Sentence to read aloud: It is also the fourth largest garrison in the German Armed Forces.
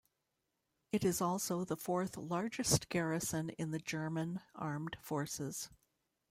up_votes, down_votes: 2, 0